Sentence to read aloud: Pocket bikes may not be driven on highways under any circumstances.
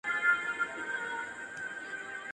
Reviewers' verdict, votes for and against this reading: rejected, 0, 2